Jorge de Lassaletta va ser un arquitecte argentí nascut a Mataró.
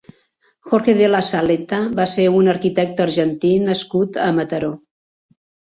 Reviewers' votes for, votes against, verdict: 2, 0, accepted